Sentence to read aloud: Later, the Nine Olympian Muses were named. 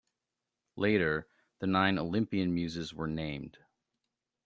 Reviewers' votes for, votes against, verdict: 2, 0, accepted